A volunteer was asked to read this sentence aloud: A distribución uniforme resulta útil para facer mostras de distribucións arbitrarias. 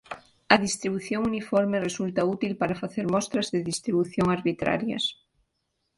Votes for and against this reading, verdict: 1, 2, rejected